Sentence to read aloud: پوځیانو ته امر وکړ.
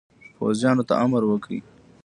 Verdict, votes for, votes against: accepted, 2, 0